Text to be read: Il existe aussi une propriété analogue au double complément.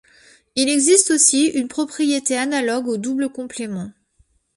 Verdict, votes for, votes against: accepted, 2, 0